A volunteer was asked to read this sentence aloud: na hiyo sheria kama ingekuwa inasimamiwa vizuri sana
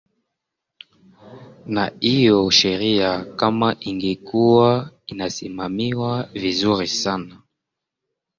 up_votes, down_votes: 0, 2